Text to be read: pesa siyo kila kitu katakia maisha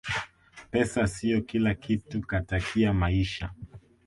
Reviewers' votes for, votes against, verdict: 2, 1, accepted